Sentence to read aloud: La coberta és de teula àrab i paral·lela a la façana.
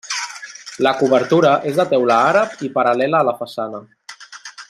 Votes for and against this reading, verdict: 0, 2, rejected